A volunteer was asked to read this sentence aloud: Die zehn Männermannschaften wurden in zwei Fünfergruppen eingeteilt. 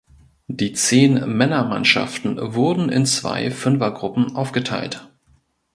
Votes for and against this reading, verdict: 0, 2, rejected